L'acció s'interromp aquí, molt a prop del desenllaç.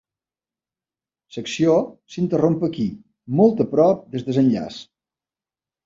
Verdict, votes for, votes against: rejected, 1, 2